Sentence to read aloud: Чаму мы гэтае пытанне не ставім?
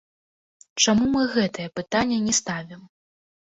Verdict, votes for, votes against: accepted, 3, 1